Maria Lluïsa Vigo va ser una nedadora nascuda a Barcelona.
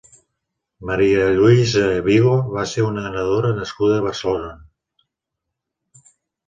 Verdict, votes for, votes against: accepted, 6, 1